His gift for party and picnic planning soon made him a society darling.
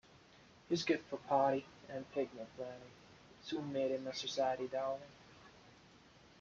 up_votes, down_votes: 2, 1